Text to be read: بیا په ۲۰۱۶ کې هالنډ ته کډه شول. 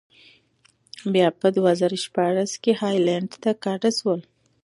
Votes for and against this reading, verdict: 0, 2, rejected